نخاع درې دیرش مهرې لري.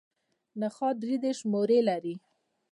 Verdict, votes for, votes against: rejected, 0, 2